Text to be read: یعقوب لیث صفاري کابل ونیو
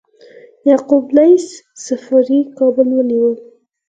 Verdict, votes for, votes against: accepted, 4, 2